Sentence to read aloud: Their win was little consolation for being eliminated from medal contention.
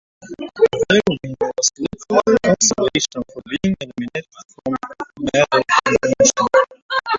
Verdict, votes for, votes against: rejected, 0, 2